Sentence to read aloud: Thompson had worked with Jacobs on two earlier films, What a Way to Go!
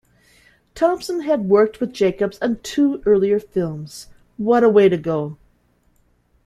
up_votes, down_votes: 2, 0